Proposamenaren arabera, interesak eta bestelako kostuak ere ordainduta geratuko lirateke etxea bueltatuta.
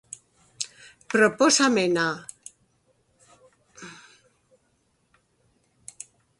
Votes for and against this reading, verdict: 0, 2, rejected